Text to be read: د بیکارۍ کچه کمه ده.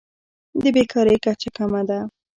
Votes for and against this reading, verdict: 1, 2, rejected